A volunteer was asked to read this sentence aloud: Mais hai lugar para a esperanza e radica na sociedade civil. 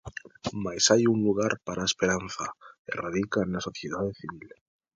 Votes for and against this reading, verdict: 1, 2, rejected